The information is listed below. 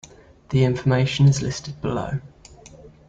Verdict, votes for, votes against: accepted, 2, 0